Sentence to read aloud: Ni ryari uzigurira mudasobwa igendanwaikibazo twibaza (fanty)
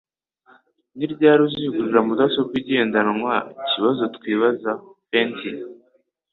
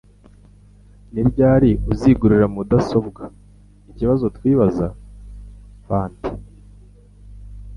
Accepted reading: first